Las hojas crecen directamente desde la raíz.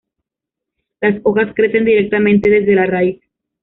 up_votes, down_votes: 2, 0